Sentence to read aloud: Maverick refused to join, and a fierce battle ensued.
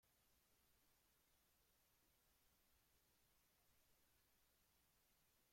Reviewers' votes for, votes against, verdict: 0, 2, rejected